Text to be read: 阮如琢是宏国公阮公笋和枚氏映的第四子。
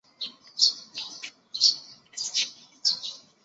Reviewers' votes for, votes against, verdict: 0, 2, rejected